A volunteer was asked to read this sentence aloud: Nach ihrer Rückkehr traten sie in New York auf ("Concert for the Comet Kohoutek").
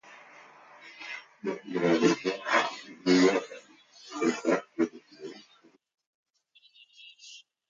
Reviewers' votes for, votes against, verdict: 0, 2, rejected